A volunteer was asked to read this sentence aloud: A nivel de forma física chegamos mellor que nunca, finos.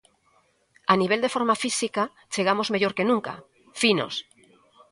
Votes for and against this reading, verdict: 1, 2, rejected